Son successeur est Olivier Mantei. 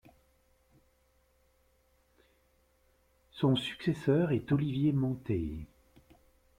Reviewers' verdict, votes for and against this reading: rejected, 0, 2